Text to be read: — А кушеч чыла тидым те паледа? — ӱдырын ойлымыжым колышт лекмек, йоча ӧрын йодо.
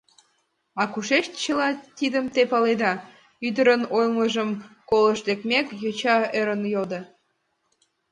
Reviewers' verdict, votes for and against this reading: accepted, 3, 0